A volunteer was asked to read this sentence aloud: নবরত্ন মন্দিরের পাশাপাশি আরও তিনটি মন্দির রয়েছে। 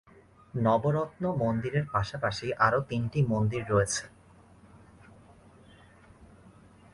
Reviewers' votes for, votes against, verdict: 2, 0, accepted